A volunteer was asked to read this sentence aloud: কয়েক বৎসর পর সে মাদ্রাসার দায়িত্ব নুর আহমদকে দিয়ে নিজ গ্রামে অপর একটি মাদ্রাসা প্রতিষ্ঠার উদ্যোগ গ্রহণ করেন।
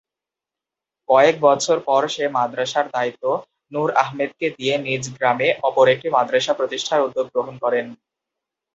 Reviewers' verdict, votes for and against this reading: rejected, 0, 2